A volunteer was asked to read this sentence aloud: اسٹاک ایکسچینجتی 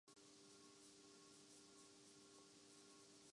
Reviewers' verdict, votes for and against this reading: rejected, 0, 2